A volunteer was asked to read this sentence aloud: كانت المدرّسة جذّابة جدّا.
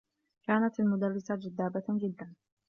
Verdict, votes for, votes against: accepted, 2, 1